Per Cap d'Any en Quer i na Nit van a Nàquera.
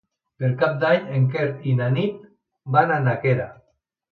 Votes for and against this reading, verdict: 0, 2, rejected